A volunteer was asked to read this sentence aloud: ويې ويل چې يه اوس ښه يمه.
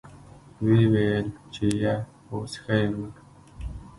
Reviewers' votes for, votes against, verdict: 0, 2, rejected